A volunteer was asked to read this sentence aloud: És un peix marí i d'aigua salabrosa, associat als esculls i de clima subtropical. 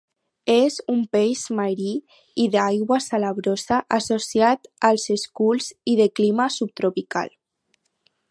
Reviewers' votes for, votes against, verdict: 4, 0, accepted